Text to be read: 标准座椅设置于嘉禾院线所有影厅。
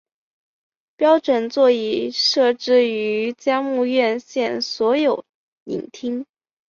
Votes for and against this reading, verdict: 1, 2, rejected